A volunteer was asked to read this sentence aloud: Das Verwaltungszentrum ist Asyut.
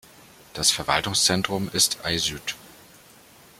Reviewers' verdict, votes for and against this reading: rejected, 1, 2